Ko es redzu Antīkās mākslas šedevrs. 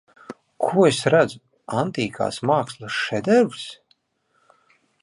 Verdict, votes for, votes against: accepted, 2, 0